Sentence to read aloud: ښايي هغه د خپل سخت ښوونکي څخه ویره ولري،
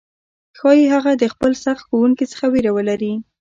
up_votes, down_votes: 1, 2